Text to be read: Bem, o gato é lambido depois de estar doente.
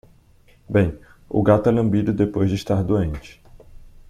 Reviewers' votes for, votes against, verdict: 2, 0, accepted